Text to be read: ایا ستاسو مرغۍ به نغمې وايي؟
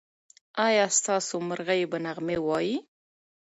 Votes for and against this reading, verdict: 2, 0, accepted